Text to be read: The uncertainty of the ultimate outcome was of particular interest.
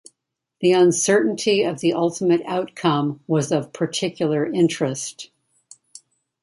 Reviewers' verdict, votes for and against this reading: accepted, 2, 0